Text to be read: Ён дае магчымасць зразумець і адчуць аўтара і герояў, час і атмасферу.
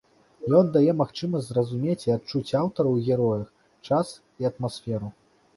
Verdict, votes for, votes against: rejected, 1, 2